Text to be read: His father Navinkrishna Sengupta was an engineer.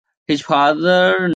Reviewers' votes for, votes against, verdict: 0, 2, rejected